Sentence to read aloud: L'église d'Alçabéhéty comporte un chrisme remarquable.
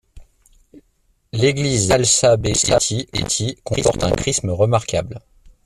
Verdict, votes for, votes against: rejected, 0, 2